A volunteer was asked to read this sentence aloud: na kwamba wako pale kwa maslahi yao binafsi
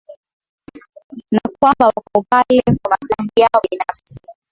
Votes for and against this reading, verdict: 3, 4, rejected